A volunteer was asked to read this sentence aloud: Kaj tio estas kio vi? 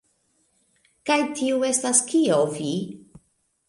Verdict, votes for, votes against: accepted, 2, 0